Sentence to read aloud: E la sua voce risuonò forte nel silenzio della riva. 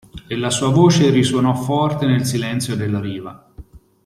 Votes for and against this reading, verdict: 2, 0, accepted